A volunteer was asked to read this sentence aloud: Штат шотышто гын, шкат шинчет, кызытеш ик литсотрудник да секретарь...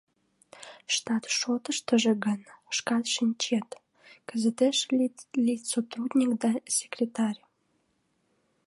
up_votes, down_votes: 0, 2